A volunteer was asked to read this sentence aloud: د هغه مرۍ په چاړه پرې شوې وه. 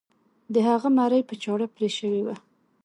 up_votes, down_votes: 2, 0